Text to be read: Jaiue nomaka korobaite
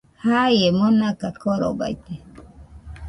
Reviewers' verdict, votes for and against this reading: rejected, 0, 2